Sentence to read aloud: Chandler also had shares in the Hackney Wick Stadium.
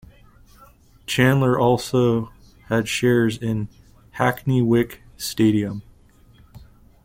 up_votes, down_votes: 0, 2